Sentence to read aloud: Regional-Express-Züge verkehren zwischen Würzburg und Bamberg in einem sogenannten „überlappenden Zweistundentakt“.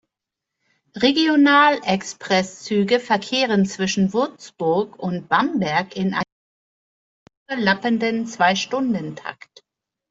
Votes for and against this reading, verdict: 0, 2, rejected